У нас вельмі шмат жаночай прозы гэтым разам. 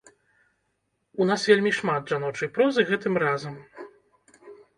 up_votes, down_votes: 2, 0